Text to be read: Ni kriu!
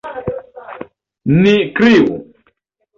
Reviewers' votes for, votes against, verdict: 3, 0, accepted